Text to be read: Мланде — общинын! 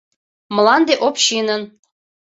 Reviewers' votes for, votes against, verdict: 2, 0, accepted